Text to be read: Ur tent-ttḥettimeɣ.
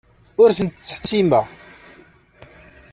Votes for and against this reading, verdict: 2, 0, accepted